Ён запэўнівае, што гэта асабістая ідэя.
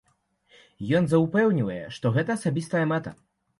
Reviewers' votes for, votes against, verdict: 0, 2, rejected